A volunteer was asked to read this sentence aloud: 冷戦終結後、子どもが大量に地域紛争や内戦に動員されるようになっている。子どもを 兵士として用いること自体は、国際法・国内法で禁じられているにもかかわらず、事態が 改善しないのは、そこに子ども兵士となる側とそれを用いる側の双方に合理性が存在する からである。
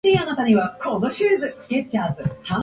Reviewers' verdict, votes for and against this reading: rejected, 0, 5